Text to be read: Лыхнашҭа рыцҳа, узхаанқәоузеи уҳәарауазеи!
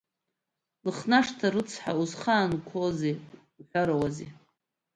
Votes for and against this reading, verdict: 2, 0, accepted